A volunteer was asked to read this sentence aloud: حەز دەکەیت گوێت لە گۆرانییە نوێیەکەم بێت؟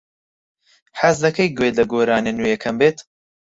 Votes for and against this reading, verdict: 4, 2, accepted